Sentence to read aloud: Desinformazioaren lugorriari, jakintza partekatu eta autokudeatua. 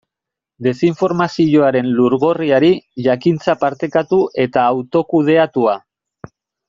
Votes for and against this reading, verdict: 0, 2, rejected